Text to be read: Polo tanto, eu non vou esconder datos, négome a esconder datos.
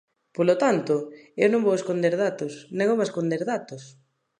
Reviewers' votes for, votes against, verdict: 2, 0, accepted